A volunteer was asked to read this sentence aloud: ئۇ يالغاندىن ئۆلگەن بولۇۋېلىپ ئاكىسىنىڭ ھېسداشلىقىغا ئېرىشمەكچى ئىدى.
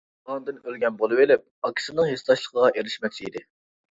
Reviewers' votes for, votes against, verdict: 0, 2, rejected